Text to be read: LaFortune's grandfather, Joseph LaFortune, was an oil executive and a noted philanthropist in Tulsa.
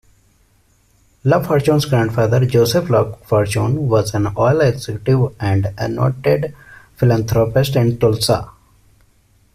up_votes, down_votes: 2, 1